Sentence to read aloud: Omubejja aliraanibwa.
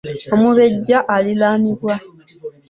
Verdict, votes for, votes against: rejected, 1, 2